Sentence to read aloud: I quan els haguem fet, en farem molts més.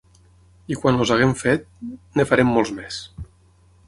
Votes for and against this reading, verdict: 0, 6, rejected